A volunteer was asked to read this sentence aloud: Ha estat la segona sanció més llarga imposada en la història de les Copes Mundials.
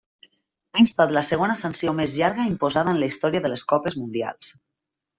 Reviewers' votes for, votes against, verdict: 1, 2, rejected